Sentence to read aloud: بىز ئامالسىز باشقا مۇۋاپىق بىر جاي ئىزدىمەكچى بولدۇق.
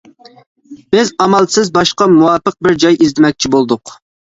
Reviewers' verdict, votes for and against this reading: accepted, 2, 0